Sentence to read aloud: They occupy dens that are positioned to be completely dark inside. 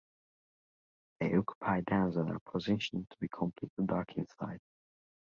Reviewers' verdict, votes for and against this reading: accepted, 2, 1